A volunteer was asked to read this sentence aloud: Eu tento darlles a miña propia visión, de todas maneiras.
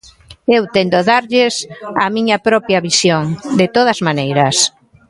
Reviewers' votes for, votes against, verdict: 0, 2, rejected